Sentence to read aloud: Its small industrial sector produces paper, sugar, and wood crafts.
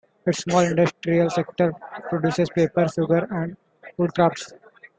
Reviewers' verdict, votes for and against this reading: rejected, 0, 2